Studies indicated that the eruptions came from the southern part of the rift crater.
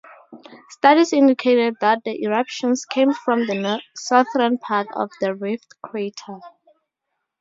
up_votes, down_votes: 0, 4